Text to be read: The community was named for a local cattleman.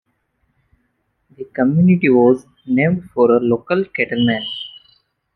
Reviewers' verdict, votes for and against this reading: accepted, 3, 1